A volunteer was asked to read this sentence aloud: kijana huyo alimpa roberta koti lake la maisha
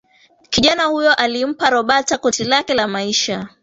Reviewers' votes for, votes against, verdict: 1, 2, rejected